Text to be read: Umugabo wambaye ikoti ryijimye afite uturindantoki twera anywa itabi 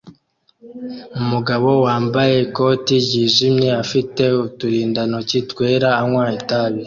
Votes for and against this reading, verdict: 2, 0, accepted